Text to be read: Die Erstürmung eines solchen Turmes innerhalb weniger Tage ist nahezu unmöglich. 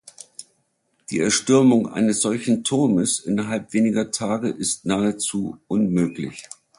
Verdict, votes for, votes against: accepted, 3, 1